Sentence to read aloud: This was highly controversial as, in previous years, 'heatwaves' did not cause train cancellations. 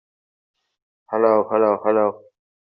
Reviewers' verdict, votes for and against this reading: rejected, 0, 2